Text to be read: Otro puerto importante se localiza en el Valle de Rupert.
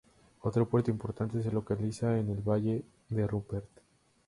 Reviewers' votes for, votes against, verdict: 2, 0, accepted